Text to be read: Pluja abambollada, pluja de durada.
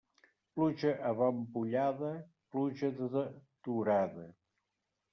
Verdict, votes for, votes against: rejected, 0, 2